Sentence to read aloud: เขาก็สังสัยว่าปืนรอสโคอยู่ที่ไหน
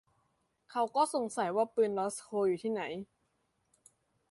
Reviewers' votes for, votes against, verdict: 2, 0, accepted